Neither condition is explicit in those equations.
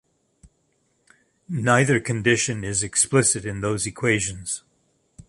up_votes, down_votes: 2, 0